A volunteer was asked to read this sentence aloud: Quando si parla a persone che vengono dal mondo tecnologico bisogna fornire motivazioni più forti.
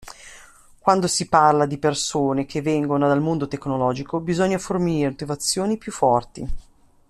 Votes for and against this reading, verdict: 0, 2, rejected